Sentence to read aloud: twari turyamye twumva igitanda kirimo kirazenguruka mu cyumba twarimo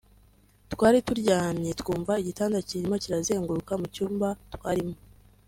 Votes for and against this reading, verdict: 3, 0, accepted